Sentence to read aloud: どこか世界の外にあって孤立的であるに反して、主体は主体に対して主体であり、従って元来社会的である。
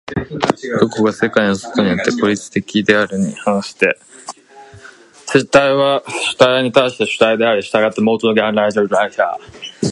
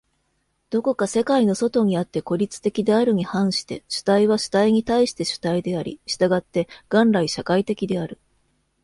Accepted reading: second